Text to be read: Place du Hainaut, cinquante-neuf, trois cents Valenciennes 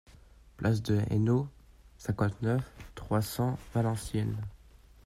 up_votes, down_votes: 0, 2